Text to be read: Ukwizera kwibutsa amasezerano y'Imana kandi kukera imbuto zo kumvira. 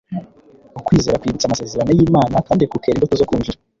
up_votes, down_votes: 1, 2